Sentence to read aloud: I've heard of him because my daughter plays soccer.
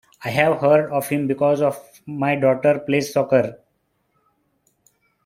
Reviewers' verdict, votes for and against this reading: rejected, 3, 4